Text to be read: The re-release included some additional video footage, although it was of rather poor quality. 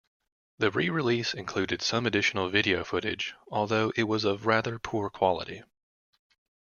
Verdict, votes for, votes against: accepted, 2, 0